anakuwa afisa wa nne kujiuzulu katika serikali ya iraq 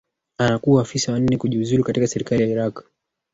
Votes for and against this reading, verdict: 1, 2, rejected